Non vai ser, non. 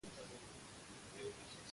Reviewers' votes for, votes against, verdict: 0, 2, rejected